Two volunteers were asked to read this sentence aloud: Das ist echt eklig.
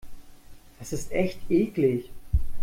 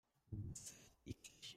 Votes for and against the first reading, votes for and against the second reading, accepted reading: 2, 0, 0, 2, first